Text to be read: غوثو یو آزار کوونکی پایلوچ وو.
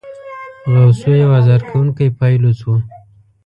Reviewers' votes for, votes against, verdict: 0, 2, rejected